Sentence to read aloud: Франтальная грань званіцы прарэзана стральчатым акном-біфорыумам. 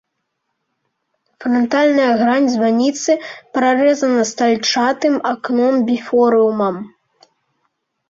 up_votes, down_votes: 2, 0